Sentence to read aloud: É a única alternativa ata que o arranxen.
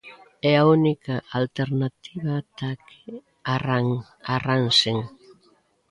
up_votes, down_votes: 0, 2